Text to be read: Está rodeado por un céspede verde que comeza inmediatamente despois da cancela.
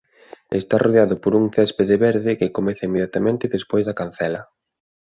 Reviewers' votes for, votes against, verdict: 2, 0, accepted